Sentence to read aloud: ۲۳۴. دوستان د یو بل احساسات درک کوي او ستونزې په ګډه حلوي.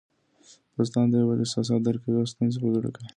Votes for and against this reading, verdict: 0, 2, rejected